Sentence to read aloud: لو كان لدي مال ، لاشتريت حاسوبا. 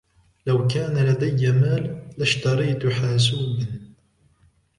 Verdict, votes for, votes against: rejected, 0, 2